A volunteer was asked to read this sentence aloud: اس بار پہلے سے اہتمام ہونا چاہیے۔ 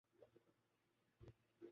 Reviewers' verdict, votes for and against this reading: rejected, 1, 2